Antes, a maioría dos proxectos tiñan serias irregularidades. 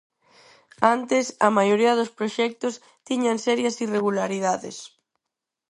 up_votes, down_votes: 4, 0